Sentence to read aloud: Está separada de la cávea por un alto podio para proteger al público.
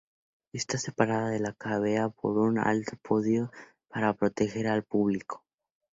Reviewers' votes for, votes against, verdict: 2, 0, accepted